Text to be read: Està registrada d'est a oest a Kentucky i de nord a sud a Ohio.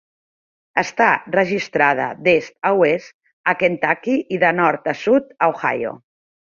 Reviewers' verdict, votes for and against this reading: rejected, 1, 2